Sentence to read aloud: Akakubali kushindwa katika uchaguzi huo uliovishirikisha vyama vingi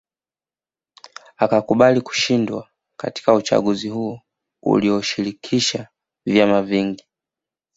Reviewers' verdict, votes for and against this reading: accepted, 2, 0